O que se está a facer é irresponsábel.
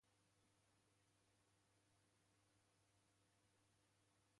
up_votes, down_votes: 1, 2